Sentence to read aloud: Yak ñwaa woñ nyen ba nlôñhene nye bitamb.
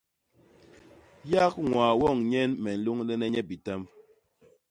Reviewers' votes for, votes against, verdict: 0, 2, rejected